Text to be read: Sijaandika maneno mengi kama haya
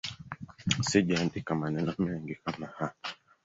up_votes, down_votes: 0, 2